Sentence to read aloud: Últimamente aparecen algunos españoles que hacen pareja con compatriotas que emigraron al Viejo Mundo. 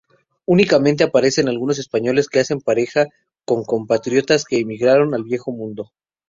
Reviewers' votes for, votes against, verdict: 0, 2, rejected